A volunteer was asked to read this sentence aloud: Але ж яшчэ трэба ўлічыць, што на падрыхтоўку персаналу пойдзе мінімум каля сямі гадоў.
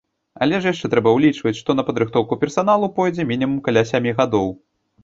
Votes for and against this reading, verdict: 0, 2, rejected